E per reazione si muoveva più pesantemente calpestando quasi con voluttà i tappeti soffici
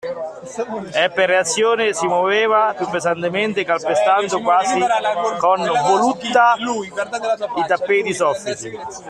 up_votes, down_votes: 1, 2